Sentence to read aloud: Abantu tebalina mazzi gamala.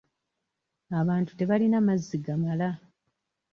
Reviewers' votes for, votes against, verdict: 2, 0, accepted